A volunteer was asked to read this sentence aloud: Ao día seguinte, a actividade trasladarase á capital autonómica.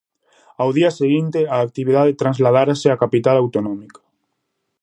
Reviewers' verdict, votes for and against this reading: rejected, 0, 2